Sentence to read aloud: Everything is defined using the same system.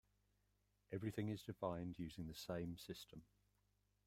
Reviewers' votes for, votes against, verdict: 2, 0, accepted